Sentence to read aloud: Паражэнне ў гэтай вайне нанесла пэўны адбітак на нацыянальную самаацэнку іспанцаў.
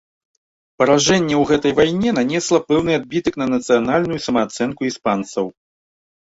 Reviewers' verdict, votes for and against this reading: accepted, 2, 0